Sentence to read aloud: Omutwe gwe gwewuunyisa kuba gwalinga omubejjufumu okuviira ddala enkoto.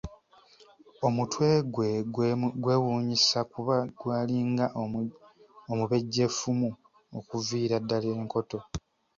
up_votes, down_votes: 1, 2